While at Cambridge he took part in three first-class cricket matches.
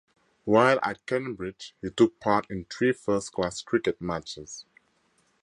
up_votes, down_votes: 2, 0